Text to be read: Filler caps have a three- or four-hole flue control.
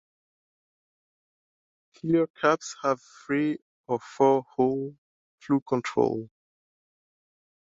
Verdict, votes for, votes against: rejected, 1, 2